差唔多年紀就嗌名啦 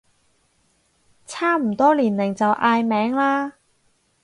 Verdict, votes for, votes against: rejected, 2, 4